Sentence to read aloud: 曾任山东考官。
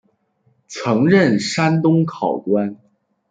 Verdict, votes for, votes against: accepted, 2, 1